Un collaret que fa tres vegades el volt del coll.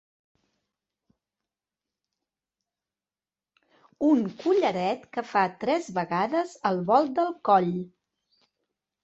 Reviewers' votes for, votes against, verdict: 2, 0, accepted